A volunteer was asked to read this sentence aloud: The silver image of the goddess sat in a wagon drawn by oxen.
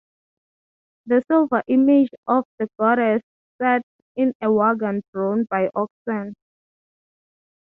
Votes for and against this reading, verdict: 3, 0, accepted